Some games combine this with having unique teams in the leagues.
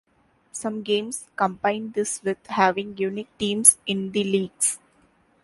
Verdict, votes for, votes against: accepted, 2, 0